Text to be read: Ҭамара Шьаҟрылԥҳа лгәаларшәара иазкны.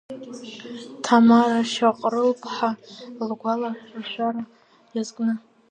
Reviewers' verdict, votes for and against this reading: rejected, 0, 2